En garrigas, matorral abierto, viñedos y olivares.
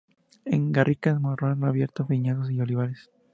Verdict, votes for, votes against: rejected, 0, 2